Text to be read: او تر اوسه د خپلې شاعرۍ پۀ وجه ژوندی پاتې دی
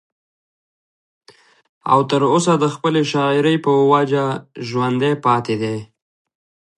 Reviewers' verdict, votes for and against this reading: accepted, 2, 0